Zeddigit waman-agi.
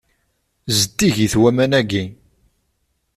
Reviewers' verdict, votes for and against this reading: accepted, 2, 0